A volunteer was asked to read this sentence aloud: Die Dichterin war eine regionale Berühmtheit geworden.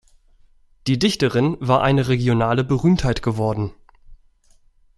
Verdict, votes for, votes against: accepted, 2, 0